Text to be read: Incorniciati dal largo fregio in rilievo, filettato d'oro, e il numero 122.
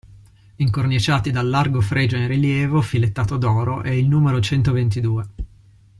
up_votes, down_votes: 0, 2